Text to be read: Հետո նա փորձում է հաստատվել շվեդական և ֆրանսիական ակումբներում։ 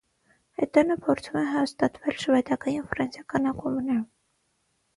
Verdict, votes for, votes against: rejected, 0, 6